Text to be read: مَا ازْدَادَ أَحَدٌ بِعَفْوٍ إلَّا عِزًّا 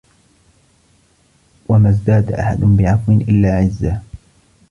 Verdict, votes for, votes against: rejected, 1, 2